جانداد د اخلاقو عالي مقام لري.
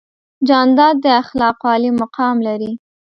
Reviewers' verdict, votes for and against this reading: accepted, 2, 0